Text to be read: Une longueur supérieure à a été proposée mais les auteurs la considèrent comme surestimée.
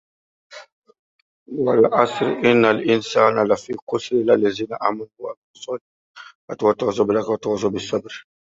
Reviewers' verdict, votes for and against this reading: rejected, 0, 2